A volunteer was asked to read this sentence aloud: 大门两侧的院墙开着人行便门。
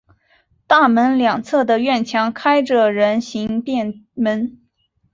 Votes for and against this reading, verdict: 2, 0, accepted